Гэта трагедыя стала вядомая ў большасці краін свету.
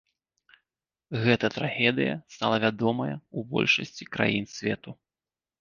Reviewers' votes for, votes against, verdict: 2, 0, accepted